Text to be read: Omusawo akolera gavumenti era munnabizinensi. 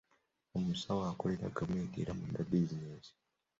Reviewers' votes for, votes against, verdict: 0, 2, rejected